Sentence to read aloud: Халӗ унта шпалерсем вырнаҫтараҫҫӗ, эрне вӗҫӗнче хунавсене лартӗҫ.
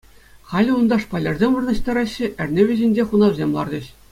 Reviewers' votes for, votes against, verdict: 2, 0, accepted